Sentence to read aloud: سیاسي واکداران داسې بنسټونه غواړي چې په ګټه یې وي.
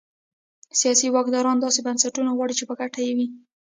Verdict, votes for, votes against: rejected, 0, 3